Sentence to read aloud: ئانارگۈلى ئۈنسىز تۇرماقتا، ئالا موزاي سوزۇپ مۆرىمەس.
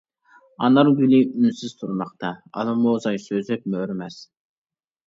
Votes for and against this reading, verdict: 0, 2, rejected